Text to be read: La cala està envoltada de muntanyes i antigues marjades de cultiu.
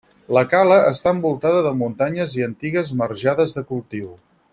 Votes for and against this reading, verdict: 6, 0, accepted